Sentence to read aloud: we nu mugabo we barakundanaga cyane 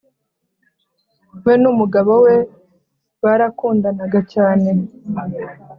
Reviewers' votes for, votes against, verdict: 3, 0, accepted